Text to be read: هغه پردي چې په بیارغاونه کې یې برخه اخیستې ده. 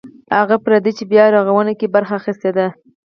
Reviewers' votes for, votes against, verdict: 0, 4, rejected